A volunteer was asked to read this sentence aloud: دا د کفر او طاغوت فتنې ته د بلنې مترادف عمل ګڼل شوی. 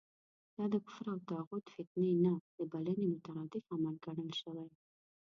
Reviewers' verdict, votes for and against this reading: rejected, 1, 2